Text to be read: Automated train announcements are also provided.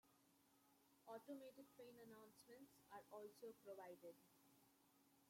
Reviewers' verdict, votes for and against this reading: rejected, 0, 2